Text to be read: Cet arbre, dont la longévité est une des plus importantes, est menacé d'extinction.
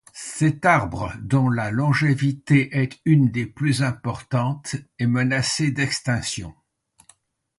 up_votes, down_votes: 2, 0